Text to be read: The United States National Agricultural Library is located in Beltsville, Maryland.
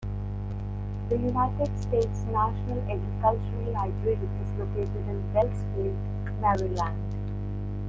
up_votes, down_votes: 1, 2